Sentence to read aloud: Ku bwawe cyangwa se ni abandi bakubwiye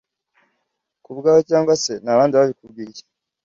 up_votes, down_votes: 1, 2